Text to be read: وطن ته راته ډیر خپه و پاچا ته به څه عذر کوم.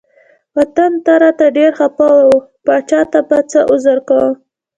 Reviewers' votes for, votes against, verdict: 1, 2, rejected